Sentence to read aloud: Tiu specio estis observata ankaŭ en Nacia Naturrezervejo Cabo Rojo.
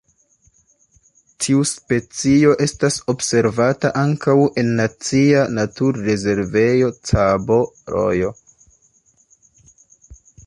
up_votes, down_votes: 0, 2